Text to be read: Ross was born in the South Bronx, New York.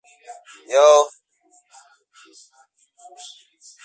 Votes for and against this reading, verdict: 0, 2, rejected